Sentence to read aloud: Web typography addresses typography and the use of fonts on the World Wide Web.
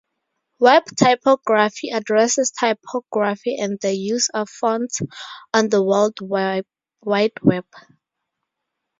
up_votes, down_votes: 0, 2